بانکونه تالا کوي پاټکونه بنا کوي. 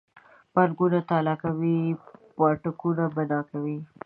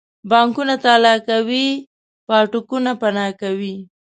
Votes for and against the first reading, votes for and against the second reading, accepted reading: 2, 0, 1, 2, first